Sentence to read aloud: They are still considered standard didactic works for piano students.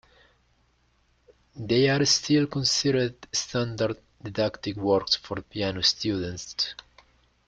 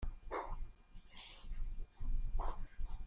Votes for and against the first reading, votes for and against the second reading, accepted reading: 2, 0, 0, 2, first